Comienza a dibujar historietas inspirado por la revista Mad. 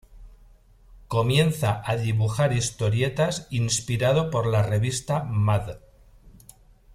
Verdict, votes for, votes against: accepted, 2, 0